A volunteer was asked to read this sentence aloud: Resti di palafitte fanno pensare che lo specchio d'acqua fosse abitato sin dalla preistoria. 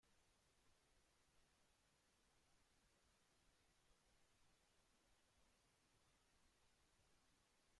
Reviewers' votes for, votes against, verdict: 0, 2, rejected